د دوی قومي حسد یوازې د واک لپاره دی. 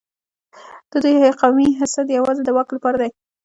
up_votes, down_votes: 2, 0